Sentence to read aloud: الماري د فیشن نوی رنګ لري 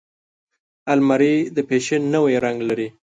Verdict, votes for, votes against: accepted, 3, 1